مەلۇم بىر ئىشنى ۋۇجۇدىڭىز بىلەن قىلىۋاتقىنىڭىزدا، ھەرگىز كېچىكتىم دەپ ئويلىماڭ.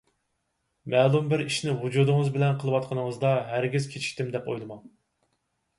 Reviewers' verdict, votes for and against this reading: accepted, 4, 0